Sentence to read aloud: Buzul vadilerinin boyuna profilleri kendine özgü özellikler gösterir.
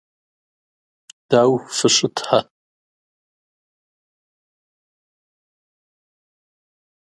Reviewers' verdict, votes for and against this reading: rejected, 0, 2